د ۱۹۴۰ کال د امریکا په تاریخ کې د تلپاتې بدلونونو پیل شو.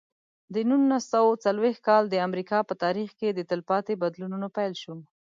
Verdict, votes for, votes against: rejected, 0, 2